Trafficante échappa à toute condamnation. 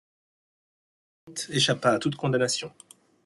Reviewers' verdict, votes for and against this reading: rejected, 0, 2